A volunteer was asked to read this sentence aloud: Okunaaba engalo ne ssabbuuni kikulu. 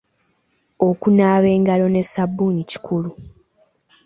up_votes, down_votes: 2, 0